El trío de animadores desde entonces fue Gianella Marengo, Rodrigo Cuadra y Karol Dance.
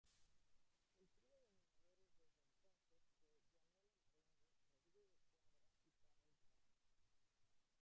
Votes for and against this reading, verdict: 0, 2, rejected